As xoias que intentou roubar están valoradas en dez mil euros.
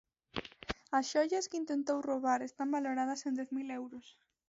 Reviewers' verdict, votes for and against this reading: rejected, 1, 2